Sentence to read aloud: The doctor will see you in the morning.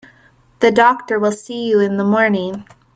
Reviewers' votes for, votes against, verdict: 2, 0, accepted